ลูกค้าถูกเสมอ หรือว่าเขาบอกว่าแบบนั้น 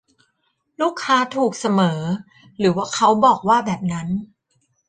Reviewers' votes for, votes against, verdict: 0, 2, rejected